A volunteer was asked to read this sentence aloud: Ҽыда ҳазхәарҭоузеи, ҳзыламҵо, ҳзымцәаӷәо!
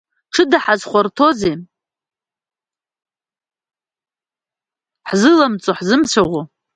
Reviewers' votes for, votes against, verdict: 0, 2, rejected